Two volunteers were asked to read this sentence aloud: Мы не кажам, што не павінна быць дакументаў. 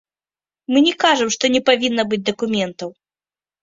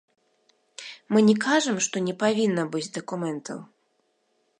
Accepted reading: second